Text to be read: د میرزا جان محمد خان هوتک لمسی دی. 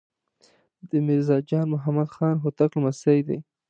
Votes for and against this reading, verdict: 2, 0, accepted